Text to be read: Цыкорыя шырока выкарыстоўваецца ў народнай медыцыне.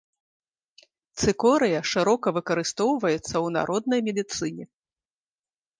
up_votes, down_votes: 2, 0